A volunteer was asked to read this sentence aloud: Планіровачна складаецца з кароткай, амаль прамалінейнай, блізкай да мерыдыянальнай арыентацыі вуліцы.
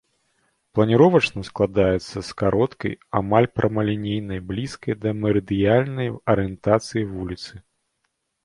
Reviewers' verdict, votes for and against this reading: rejected, 1, 2